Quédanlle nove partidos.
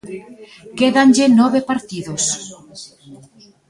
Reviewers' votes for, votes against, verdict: 2, 0, accepted